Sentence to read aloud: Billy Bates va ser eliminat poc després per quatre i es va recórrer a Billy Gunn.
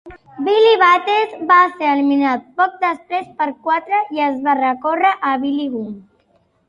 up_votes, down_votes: 2, 1